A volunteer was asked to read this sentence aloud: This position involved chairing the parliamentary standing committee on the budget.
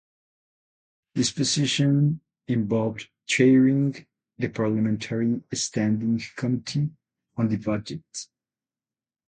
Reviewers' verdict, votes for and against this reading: rejected, 0, 8